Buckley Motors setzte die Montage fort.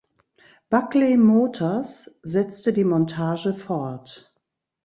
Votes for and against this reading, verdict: 2, 0, accepted